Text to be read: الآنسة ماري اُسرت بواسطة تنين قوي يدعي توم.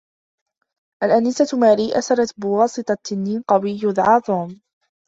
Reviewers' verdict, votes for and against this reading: rejected, 1, 2